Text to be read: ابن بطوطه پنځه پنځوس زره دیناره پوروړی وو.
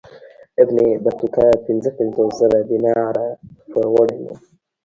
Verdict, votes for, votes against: rejected, 1, 2